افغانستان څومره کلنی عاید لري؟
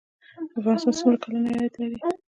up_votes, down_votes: 1, 2